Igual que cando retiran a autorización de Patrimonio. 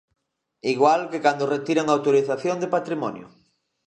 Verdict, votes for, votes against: accepted, 2, 0